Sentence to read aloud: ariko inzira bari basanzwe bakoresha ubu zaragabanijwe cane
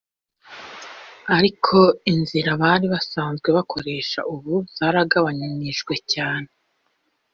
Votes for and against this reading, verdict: 2, 0, accepted